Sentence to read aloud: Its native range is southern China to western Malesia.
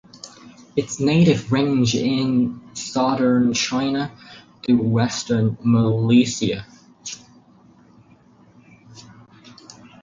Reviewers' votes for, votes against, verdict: 2, 4, rejected